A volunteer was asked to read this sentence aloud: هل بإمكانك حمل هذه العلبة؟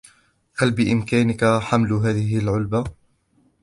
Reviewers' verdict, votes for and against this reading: accepted, 2, 0